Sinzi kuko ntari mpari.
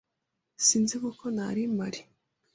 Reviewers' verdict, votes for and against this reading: accepted, 2, 0